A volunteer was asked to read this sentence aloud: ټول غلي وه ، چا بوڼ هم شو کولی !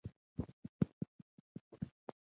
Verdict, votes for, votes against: rejected, 1, 2